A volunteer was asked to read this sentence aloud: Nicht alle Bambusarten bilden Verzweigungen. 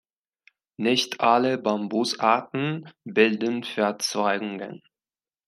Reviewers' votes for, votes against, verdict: 1, 2, rejected